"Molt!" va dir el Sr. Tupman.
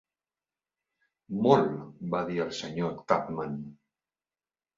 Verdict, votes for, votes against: accepted, 2, 0